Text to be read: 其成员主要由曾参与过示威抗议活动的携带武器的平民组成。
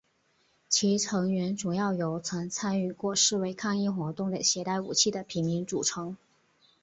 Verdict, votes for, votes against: accepted, 3, 0